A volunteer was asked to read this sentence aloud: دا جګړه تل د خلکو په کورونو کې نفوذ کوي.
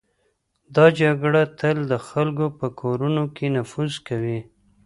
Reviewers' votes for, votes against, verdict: 3, 0, accepted